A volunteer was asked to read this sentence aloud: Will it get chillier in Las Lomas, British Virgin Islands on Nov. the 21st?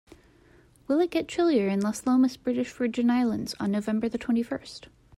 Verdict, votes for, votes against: rejected, 0, 2